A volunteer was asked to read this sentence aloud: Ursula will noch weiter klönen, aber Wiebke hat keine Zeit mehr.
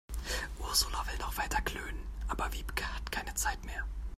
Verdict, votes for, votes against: accepted, 2, 0